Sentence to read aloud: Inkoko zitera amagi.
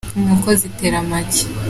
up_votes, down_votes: 2, 0